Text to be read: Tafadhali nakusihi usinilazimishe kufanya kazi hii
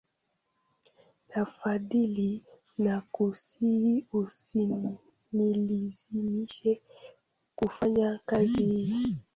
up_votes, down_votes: 0, 2